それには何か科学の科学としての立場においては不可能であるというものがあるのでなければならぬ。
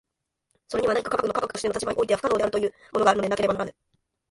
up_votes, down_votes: 2, 1